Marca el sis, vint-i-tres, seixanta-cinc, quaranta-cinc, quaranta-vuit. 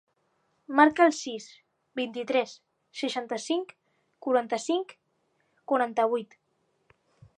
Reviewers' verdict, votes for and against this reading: accepted, 4, 0